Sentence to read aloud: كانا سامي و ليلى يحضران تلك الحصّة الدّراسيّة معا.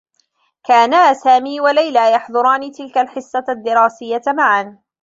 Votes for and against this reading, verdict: 1, 2, rejected